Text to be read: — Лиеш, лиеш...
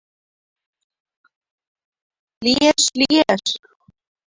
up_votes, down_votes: 2, 1